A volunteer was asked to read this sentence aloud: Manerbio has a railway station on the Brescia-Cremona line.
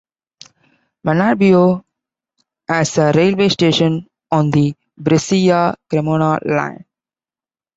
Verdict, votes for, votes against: accepted, 2, 1